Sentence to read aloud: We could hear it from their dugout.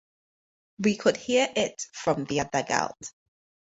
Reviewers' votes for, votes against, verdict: 4, 0, accepted